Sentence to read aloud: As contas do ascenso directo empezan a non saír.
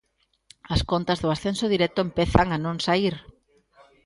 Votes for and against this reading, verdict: 2, 0, accepted